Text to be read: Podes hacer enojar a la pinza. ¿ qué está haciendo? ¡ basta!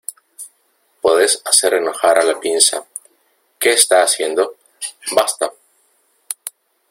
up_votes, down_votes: 2, 0